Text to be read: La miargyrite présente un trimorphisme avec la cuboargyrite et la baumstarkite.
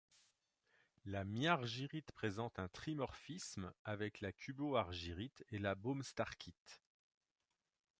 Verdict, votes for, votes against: rejected, 1, 2